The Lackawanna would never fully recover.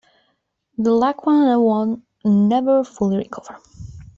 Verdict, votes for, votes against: accepted, 2, 1